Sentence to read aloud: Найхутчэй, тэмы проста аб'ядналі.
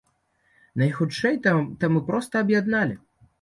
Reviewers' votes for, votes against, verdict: 0, 2, rejected